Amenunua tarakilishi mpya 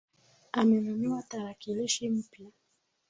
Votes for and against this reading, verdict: 2, 0, accepted